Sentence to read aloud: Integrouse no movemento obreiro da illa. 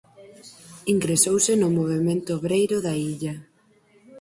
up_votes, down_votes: 2, 6